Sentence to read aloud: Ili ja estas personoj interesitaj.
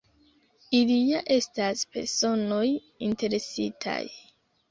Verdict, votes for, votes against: accepted, 2, 0